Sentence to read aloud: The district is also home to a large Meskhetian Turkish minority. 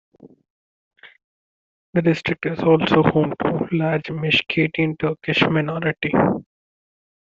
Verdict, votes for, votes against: accepted, 2, 1